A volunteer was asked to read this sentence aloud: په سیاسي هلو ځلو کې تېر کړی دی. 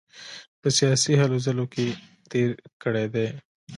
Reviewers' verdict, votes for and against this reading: accepted, 2, 0